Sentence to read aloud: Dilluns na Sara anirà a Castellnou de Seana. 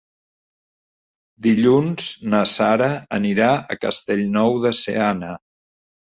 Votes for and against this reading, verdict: 3, 0, accepted